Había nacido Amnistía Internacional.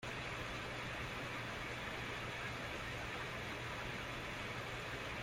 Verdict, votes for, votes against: rejected, 0, 2